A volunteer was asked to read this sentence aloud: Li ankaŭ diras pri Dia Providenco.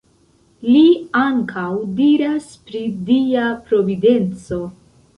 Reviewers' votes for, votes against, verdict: 1, 2, rejected